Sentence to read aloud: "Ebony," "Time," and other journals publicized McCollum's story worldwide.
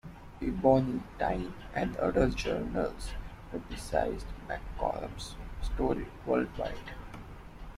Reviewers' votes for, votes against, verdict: 2, 0, accepted